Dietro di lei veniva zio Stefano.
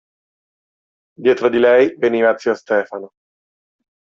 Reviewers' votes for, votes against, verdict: 2, 0, accepted